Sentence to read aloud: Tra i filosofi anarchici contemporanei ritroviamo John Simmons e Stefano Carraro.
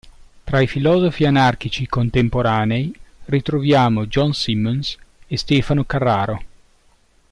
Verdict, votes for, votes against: rejected, 0, 2